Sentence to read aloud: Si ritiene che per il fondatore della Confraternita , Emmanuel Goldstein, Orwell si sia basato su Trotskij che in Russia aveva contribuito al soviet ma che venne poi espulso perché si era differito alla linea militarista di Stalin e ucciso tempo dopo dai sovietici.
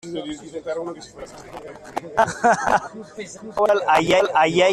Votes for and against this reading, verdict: 0, 2, rejected